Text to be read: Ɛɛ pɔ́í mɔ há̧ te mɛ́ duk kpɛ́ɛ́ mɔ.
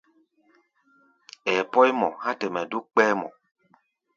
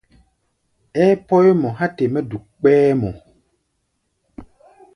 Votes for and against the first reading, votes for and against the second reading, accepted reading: 0, 2, 2, 0, second